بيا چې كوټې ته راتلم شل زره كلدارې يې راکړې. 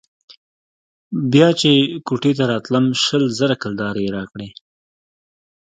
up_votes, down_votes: 2, 1